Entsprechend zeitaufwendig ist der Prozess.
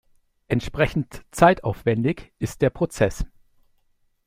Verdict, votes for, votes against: accepted, 2, 0